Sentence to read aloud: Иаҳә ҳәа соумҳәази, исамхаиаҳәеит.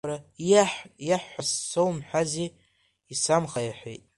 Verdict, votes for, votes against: rejected, 0, 2